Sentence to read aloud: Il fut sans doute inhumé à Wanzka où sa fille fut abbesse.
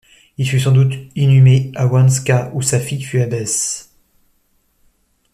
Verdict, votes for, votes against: accepted, 2, 0